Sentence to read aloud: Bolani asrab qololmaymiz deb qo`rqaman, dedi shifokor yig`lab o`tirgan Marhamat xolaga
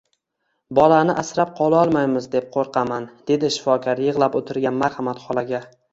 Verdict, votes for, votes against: accepted, 2, 0